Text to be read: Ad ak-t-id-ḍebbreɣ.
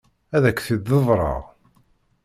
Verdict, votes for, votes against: rejected, 1, 2